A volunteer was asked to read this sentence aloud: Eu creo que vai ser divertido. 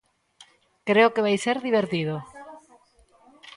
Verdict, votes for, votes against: rejected, 0, 2